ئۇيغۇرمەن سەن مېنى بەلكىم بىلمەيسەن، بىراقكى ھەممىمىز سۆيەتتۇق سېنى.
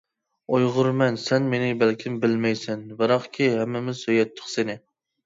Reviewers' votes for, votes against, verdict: 2, 0, accepted